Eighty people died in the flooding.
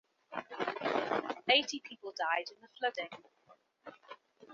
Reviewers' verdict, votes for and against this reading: rejected, 0, 2